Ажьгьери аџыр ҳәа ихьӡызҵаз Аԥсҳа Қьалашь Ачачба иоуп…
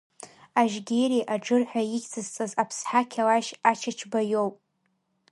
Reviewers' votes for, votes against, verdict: 0, 2, rejected